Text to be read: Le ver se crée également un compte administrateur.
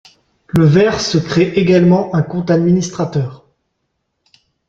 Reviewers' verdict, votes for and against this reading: accepted, 2, 0